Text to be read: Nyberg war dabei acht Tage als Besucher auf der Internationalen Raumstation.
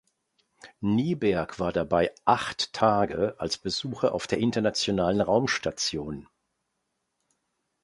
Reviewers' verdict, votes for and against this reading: accepted, 2, 0